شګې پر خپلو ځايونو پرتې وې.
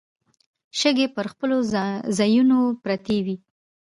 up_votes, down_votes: 2, 0